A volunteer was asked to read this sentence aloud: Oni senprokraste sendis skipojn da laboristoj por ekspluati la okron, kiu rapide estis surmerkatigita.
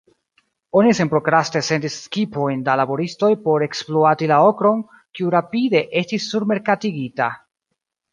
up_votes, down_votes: 1, 2